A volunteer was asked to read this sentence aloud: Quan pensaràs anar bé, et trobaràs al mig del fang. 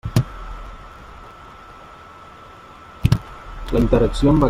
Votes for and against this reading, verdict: 1, 2, rejected